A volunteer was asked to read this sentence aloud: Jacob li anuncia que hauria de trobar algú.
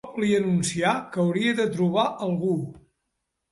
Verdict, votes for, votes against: rejected, 1, 2